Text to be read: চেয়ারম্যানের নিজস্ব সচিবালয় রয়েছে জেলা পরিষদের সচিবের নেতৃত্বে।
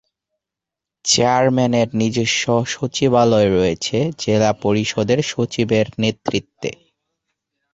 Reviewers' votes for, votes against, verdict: 8, 0, accepted